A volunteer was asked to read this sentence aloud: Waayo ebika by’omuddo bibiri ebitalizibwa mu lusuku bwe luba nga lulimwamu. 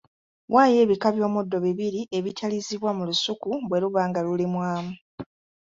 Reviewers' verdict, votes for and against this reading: accepted, 2, 0